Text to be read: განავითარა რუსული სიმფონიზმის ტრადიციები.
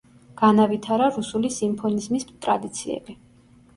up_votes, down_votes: 2, 0